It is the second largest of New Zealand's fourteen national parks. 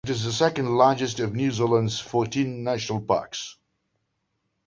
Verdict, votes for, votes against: accepted, 2, 0